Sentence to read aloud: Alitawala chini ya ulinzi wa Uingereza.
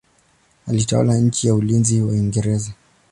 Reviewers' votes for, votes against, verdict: 2, 0, accepted